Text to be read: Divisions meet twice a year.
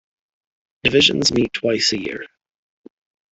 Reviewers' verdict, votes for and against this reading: accepted, 2, 0